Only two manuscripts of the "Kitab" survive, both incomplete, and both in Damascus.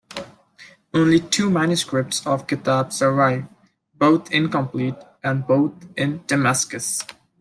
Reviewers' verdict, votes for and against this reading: accepted, 2, 1